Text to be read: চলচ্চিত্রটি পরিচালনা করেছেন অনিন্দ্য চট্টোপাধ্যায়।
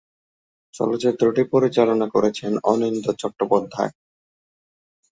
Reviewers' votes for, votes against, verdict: 2, 0, accepted